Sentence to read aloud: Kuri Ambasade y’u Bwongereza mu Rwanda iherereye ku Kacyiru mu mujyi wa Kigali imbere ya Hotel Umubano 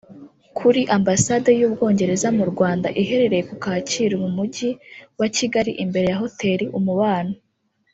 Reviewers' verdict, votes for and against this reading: rejected, 1, 2